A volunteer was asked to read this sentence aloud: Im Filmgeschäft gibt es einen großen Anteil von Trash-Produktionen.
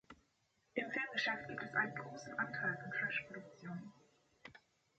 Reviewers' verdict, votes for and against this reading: accepted, 2, 1